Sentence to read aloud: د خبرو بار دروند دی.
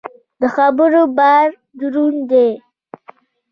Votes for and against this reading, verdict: 2, 1, accepted